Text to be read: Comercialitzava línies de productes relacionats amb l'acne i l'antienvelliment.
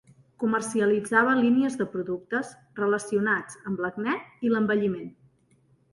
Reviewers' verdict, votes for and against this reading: rejected, 1, 2